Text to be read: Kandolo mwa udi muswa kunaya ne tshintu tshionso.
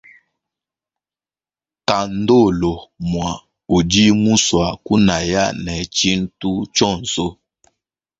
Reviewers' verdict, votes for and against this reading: accepted, 2, 0